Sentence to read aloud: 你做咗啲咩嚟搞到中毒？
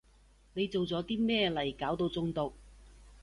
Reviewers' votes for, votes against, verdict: 2, 0, accepted